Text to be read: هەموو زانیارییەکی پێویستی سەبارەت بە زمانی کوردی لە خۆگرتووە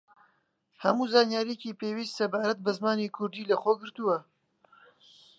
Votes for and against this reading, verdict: 1, 2, rejected